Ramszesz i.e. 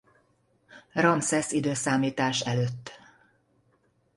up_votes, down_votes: 2, 0